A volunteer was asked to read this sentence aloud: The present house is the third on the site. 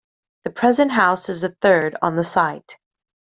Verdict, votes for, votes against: accepted, 2, 0